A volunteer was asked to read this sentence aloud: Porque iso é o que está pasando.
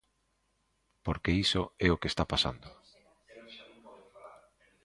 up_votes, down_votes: 2, 0